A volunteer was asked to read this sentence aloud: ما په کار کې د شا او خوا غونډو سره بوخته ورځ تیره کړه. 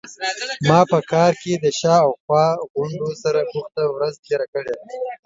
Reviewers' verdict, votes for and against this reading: rejected, 1, 2